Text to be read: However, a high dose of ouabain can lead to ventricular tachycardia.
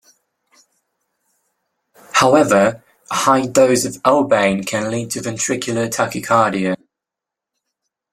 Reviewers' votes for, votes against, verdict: 2, 0, accepted